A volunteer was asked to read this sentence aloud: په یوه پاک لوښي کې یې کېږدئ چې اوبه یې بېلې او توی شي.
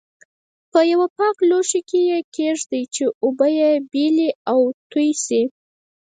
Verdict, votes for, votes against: rejected, 0, 4